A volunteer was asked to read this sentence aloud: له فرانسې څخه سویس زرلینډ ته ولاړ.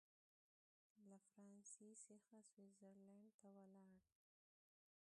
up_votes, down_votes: 1, 2